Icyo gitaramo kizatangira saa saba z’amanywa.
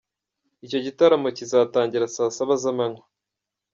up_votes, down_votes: 2, 0